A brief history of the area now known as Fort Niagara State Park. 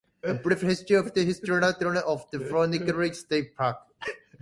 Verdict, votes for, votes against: rejected, 1, 2